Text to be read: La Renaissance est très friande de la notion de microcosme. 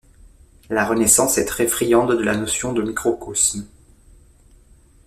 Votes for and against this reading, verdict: 2, 0, accepted